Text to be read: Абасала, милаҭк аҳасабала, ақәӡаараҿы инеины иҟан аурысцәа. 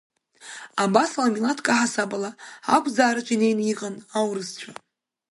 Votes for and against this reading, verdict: 2, 1, accepted